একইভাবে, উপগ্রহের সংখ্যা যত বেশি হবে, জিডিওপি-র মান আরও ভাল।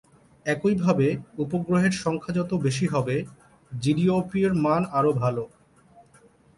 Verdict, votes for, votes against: accepted, 3, 0